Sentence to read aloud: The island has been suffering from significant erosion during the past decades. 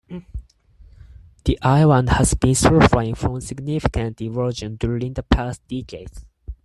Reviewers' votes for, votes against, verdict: 0, 4, rejected